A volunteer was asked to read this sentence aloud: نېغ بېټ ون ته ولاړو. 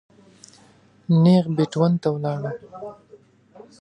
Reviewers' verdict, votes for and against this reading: accepted, 2, 0